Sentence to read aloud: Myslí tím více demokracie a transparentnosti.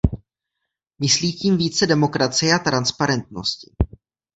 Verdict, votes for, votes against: accepted, 2, 0